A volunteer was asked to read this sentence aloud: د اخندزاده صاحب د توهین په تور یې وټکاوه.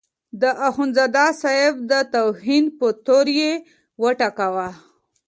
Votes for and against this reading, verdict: 2, 0, accepted